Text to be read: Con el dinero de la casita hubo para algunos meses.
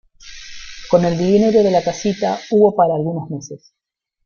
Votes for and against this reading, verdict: 0, 2, rejected